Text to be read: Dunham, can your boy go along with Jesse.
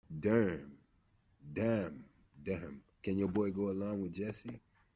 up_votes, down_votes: 0, 2